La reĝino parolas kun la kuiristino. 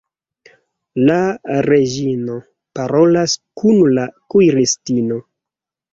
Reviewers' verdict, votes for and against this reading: accepted, 2, 1